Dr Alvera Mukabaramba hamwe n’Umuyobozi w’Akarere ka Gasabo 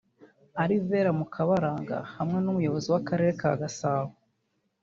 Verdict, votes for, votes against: rejected, 1, 3